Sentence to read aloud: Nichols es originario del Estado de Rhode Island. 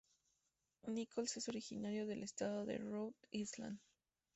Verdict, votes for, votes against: accepted, 2, 0